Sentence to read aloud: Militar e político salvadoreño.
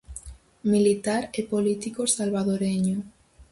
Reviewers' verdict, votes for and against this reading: accepted, 4, 0